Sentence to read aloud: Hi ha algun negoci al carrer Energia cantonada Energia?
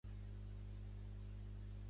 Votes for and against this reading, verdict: 0, 2, rejected